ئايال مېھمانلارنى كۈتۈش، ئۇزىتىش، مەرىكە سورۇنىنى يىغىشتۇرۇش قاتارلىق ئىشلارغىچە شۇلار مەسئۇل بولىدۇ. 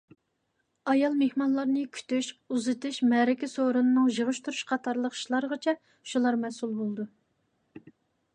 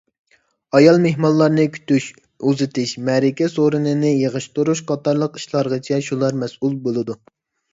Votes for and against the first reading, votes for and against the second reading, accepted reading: 1, 2, 2, 0, second